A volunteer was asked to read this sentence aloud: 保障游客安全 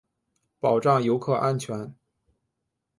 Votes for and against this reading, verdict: 2, 0, accepted